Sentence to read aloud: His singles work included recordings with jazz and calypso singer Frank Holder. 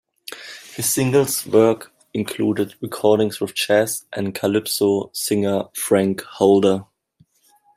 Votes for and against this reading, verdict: 2, 0, accepted